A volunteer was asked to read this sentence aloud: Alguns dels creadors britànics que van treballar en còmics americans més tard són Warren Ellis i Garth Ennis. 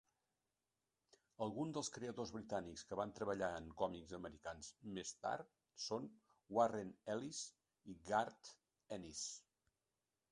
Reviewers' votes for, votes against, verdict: 0, 2, rejected